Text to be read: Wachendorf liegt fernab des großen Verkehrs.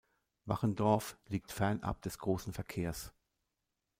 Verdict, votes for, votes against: accepted, 2, 0